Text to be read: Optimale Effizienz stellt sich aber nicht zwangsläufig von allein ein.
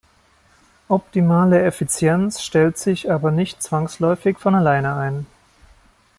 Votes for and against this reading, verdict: 0, 2, rejected